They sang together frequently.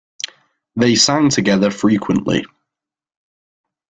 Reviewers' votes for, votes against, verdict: 3, 1, accepted